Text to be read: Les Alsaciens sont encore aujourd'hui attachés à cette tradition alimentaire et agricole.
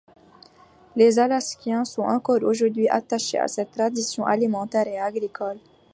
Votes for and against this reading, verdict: 1, 2, rejected